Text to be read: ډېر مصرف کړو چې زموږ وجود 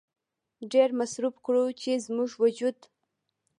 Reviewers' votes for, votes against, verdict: 2, 0, accepted